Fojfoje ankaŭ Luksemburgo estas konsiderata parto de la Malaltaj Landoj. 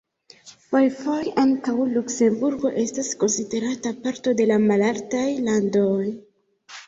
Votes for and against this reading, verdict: 2, 0, accepted